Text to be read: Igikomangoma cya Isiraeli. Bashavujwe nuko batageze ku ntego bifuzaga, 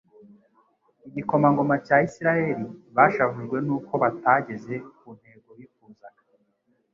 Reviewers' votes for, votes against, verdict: 3, 0, accepted